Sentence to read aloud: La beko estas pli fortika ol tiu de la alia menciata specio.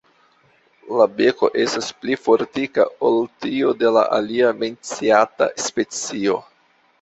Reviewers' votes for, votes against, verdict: 2, 0, accepted